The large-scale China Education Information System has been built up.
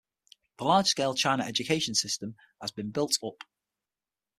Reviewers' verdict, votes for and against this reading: rejected, 0, 6